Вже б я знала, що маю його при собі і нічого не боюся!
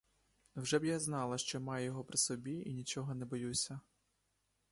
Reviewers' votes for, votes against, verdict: 2, 0, accepted